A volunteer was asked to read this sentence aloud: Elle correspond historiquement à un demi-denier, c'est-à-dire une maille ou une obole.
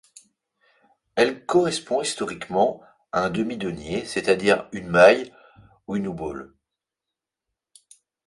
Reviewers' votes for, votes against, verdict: 0, 2, rejected